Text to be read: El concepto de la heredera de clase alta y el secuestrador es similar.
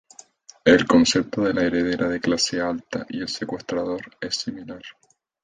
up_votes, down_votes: 4, 2